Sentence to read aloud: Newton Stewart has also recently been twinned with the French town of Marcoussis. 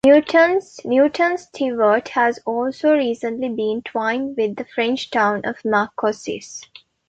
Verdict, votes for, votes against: rejected, 0, 2